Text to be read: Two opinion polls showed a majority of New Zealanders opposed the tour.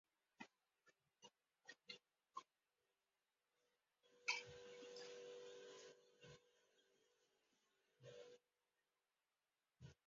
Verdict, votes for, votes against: rejected, 0, 4